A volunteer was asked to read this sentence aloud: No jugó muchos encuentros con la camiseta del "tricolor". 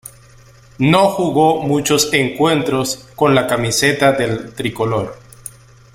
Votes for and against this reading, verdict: 2, 1, accepted